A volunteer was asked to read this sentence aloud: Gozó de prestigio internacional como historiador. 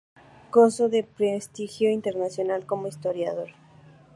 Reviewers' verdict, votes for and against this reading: accepted, 4, 0